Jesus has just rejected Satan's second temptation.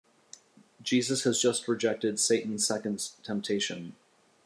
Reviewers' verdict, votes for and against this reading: accepted, 2, 0